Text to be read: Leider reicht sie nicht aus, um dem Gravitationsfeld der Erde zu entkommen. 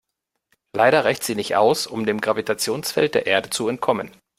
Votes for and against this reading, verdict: 2, 0, accepted